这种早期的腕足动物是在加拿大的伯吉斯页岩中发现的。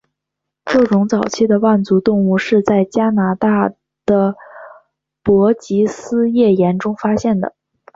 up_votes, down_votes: 2, 0